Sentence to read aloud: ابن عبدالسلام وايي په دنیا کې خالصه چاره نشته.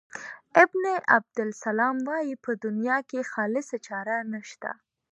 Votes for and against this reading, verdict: 3, 0, accepted